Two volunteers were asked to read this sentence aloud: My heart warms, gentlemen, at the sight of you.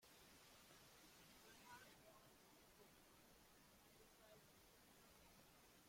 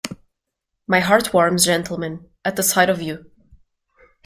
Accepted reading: second